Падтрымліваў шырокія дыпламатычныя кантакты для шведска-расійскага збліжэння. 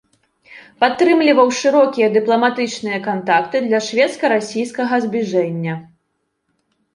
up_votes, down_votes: 2, 0